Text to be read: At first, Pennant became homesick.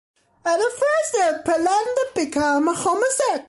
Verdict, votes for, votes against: rejected, 1, 2